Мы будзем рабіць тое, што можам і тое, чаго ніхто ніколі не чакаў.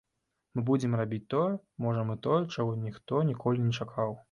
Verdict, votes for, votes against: rejected, 1, 2